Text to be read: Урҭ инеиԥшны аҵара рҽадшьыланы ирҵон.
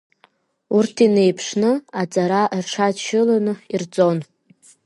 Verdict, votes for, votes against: rejected, 1, 2